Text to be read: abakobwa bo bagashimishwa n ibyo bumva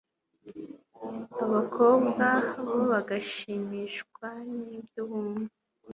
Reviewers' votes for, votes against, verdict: 2, 0, accepted